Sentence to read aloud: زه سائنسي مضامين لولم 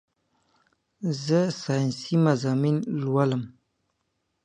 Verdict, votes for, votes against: accepted, 2, 0